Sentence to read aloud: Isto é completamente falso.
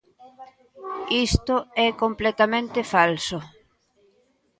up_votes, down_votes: 2, 0